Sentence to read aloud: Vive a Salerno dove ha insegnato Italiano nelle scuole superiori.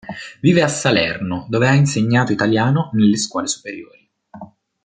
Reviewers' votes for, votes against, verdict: 2, 0, accepted